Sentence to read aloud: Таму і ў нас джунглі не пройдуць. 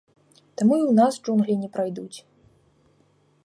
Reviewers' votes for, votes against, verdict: 1, 2, rejected